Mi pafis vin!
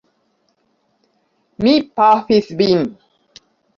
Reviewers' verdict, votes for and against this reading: rejected, 1, 2